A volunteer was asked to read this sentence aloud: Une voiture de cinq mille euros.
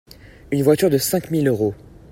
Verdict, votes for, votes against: accepted, 2, 0